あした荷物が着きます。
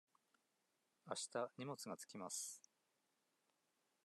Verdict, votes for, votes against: accepted, 2, 0